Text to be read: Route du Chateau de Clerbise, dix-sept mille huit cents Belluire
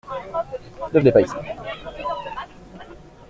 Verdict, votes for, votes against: rejected, 0, 2